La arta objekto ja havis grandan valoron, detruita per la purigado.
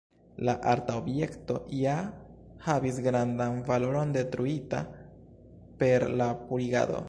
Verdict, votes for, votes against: accepted, 2, 0